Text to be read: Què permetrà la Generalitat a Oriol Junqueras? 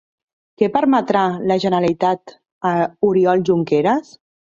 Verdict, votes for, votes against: rejected, 1, 2